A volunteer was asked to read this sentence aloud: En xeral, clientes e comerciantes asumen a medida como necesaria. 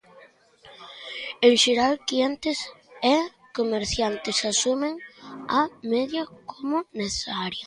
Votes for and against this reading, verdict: 0, 2, rejected